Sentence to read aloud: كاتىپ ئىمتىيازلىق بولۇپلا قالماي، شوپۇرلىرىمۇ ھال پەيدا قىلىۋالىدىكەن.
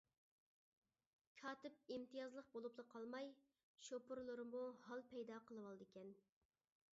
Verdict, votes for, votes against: accepted, 2, 0